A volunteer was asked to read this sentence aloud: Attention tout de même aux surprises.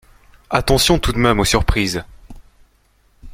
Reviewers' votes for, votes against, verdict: 2, 0, accepted